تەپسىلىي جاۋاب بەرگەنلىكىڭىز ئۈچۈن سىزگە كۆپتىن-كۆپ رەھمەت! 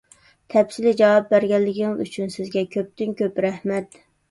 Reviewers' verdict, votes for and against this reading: rejected, 1, 2